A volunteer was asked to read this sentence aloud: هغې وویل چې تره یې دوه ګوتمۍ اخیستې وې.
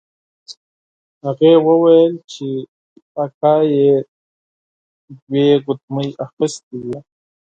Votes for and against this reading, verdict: 2, 4, rejected